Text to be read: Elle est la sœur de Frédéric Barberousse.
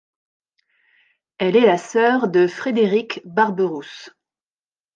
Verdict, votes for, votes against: accepted, 3, 0